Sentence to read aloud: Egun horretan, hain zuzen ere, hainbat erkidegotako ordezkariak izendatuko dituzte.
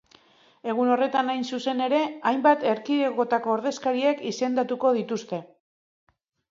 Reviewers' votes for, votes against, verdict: 3, 2, accepted